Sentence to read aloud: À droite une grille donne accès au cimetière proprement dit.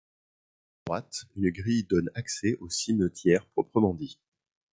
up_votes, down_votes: 1, 2